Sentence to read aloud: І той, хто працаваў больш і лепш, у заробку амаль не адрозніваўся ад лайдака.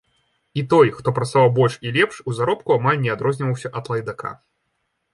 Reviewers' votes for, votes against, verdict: 2, 0, accepted